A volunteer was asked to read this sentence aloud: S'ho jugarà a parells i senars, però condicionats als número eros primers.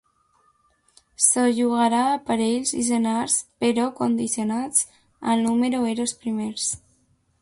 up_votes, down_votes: 0, 2